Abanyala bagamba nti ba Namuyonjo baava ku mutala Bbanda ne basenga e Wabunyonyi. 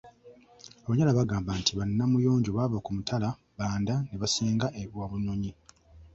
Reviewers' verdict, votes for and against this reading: accepted, 2, 1